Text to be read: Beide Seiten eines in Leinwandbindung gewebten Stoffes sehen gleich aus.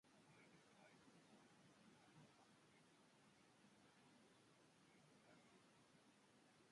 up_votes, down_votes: 0, 2